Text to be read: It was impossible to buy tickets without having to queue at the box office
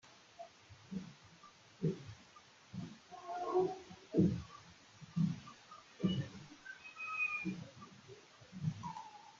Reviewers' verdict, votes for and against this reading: rejected, 0, 2